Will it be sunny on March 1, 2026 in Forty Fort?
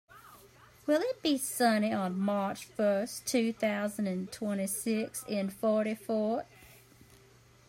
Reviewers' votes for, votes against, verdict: 0, 2, rejected